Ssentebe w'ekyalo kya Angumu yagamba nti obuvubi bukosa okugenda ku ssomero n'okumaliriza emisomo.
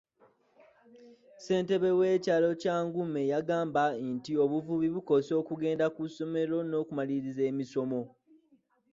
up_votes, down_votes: 1, 3